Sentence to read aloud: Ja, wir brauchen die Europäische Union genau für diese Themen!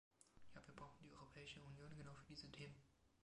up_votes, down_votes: 2, 0